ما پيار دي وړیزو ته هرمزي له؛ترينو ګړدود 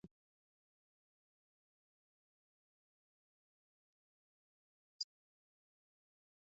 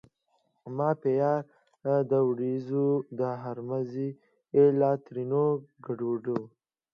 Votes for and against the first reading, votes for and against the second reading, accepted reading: 0, 2, 2, 0, second